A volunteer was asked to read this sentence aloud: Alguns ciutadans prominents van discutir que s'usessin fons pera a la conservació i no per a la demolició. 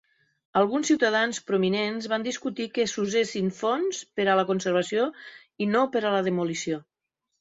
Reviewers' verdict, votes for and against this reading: accepted, 2, 0